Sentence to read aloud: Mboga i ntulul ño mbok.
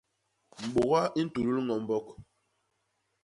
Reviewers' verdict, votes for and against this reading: rejected, 1, 2